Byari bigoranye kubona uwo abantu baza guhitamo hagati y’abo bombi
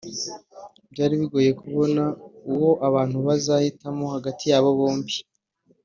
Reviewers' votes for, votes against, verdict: 1, 2, rejected